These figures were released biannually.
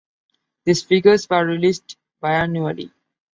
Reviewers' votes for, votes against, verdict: 2, 0, accepted